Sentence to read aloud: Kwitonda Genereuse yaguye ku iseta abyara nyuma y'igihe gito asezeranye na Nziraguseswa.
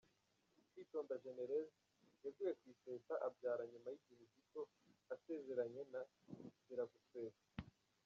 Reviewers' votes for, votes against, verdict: 0, 2, rejected